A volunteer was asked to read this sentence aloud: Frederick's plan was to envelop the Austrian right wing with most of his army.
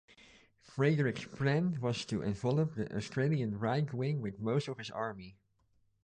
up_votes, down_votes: 2, 1